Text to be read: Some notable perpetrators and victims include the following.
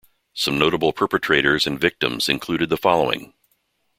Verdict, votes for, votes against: rejected, 0, 2